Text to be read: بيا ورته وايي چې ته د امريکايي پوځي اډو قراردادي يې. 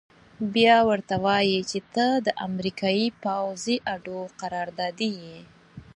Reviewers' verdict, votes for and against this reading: accepted, 4, 0